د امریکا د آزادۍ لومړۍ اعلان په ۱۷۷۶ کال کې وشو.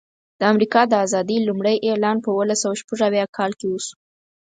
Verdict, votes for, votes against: rejected, 0, 2